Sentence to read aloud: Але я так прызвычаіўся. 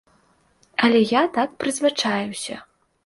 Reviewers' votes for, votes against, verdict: 2, 0, accepted